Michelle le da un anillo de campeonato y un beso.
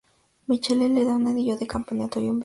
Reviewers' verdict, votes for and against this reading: rejected, 0, 4